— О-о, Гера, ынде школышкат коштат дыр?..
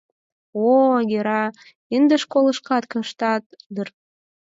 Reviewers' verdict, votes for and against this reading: accepted, 4, 0